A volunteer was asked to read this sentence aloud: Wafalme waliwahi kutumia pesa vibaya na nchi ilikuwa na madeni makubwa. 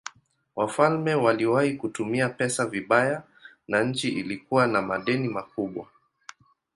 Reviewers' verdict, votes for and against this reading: accepted, 2, 0